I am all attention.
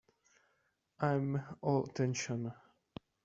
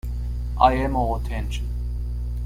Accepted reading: second